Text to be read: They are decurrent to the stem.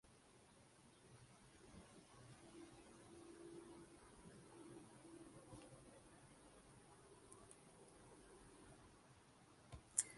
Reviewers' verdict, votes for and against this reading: rejected, 0, 2